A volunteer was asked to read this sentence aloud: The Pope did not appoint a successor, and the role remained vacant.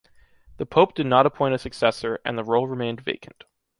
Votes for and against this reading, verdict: 2, 1, accepted